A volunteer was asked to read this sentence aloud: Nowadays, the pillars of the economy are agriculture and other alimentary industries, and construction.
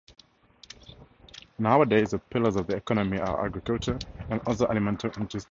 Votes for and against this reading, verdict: 2, 0, accepted